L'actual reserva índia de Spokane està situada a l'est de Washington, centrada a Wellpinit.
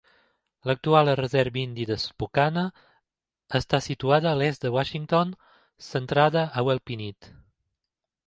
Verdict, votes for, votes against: accepted, 2, 1